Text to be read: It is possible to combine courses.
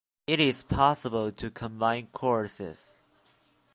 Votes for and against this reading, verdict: 2, 0, accepted